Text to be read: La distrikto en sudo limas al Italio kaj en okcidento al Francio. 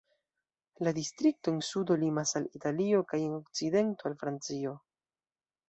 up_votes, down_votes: 1, 2